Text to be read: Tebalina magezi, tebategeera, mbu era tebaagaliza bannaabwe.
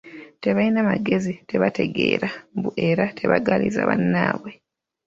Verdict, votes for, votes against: accepted, 2, 0